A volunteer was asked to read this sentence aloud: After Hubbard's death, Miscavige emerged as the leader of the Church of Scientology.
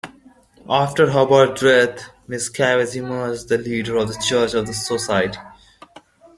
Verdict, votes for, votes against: rejected, 0, 2